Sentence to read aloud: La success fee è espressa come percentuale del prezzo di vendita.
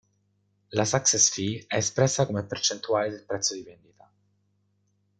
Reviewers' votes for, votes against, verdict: 1, 2, rejected